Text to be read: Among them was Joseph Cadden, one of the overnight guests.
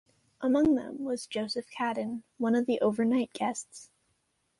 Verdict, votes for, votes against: accepted, 2, 0